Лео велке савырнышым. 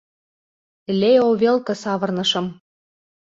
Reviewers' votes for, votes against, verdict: 2, 0, accepted